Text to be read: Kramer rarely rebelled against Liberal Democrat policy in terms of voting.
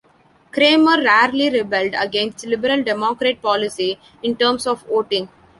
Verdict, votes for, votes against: accepted, 2, 0